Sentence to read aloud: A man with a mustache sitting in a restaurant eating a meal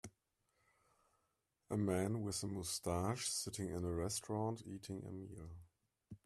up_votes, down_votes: 2, 0